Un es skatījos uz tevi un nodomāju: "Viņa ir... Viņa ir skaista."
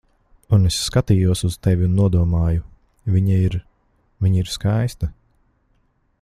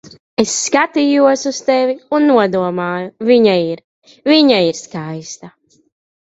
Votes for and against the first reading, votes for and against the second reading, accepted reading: 2, 0, 1, 2, first